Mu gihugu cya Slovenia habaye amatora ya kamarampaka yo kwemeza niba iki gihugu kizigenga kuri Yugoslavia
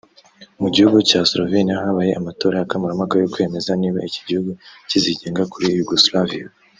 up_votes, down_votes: 1, 2